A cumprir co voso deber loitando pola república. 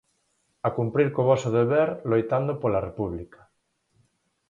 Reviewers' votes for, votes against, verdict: 4, 0, accepted